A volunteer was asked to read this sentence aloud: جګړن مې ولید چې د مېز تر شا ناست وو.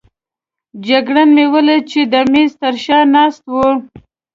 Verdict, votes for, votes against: accepted, 2, 0